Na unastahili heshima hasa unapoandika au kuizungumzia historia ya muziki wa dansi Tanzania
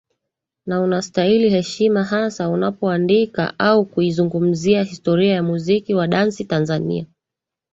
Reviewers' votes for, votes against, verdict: 2, 0, accepted